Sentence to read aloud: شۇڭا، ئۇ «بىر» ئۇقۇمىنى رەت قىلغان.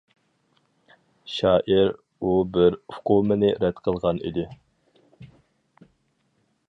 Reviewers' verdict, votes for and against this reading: rejected, 0, 4